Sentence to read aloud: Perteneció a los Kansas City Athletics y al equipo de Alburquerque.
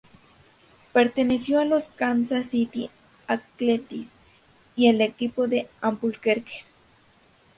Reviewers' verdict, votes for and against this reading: rejected, 0, 2